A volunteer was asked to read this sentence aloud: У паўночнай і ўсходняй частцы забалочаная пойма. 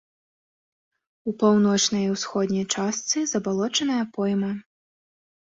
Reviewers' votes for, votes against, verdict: 2, 0, accepted